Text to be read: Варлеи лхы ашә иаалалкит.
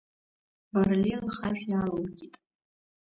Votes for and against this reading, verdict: 1, 2, rejected